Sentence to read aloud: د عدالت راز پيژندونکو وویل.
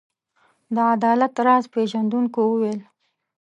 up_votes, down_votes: 2, 0